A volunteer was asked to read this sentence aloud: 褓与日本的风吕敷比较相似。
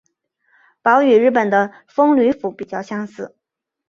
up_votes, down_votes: 0, 2